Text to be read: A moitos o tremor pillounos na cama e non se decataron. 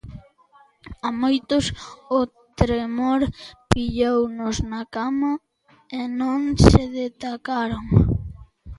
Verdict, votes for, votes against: rejected, 0, 2